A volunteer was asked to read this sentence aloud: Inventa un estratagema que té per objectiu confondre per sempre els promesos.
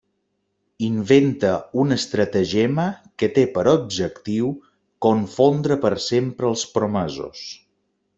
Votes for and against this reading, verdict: 2, 0, accepted